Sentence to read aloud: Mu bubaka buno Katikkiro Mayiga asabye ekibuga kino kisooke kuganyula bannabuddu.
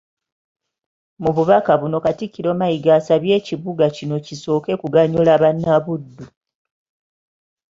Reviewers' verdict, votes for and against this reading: accepted, 2, 0